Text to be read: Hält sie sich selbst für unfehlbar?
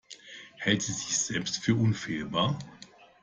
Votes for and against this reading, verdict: 2, 0, accepted